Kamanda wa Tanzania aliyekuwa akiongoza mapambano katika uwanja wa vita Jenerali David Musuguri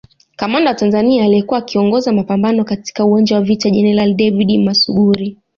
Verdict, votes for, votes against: accepted, 2, 1